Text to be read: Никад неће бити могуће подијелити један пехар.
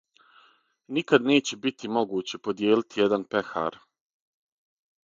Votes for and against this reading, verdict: 6, 0, accepted